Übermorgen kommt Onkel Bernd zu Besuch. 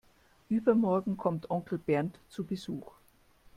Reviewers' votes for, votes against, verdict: 2, 0, accepted